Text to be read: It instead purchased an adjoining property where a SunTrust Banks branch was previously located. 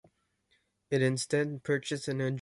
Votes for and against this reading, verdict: 0, 2, rejected